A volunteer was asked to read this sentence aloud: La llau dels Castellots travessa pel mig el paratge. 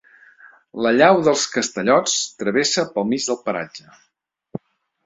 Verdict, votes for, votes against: rejected, 0, 2